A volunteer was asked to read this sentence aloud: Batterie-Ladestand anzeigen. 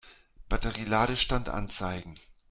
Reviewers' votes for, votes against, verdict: 2, 0, accepted